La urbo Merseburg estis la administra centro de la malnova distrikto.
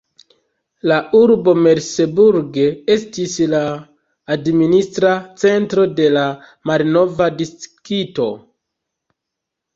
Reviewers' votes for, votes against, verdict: 1, 2, rejected